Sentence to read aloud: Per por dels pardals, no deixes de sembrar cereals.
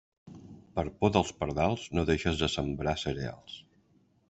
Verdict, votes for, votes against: accepted, 2, 1